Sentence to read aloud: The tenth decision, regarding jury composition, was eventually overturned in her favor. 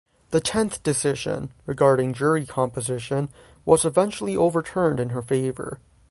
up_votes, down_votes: 3, 0